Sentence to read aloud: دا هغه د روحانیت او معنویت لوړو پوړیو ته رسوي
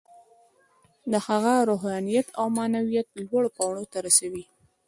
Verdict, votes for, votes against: accepted, 2, 1